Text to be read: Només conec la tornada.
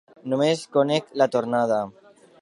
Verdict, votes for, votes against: accepted, 2, 0